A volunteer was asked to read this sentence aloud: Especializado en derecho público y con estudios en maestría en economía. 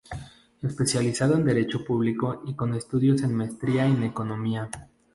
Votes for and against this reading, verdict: 0, 2, rejected